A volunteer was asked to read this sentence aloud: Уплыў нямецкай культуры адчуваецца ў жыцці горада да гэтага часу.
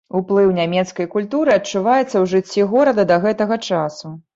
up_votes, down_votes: 2, 0